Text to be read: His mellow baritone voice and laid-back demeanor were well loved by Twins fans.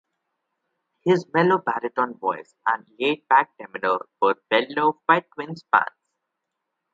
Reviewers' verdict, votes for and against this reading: rejected, 0, 2